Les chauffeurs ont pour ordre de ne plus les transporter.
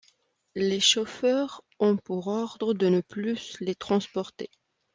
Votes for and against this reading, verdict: 0, 2, rejected